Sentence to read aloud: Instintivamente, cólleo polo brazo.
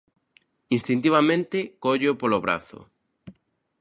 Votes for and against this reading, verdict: 2, 0, accepted